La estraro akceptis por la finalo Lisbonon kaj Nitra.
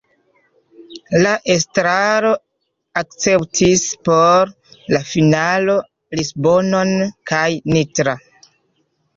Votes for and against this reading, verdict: 2, 0, accepted